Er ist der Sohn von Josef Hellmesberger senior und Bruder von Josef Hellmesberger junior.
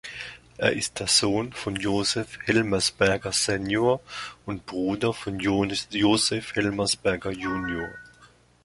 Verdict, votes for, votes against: rejected, 1, 2